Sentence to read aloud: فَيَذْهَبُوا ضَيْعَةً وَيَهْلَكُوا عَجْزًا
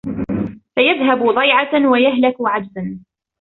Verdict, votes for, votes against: accepted, 2, 0